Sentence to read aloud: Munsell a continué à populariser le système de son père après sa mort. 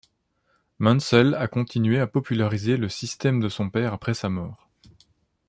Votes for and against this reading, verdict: 2, 0, accepted